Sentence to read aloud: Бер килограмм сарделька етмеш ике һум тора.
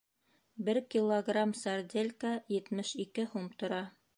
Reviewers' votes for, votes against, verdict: 2, 0, accepted